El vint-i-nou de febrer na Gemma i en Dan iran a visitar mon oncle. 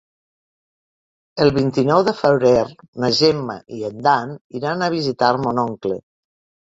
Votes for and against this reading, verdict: 4, 1, accepted